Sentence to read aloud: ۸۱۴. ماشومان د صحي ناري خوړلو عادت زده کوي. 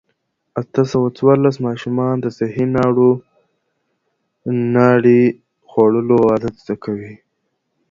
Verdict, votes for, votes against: rejected, 0, 2